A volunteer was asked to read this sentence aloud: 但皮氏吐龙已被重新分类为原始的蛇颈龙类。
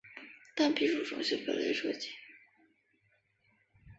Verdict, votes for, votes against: rejected, 1, 3